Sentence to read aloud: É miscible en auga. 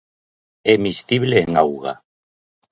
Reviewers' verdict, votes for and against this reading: accepted, 2, 0